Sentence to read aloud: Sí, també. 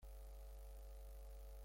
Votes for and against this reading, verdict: 0, 4, rejected